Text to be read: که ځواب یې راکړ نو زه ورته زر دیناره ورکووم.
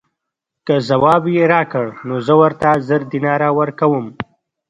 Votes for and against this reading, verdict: 2, 1, accepted